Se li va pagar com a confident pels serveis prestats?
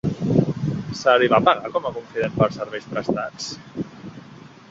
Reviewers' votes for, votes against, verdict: 0, 2, rejected